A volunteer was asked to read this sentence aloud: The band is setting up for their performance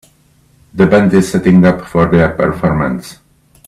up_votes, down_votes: 2, 3